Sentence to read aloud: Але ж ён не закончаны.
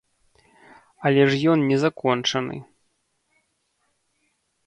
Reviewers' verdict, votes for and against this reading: accepted, 2, 0